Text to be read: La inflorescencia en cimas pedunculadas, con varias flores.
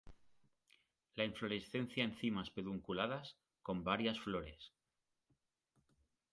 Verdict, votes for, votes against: rejected, 1, 2